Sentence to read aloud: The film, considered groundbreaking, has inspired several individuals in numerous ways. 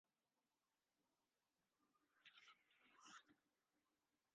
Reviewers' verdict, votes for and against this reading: rejected, 0, 2